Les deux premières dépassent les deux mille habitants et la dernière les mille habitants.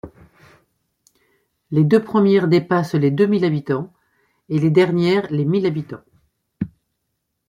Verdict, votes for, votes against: rejected, 1, 2